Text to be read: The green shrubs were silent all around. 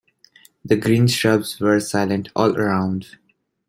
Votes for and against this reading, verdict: 2, 0, accepted